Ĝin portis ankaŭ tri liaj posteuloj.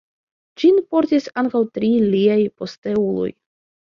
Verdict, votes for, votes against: accepted, 2, 0